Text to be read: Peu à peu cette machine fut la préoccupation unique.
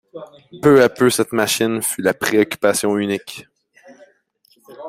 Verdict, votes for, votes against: accepted, 2, 0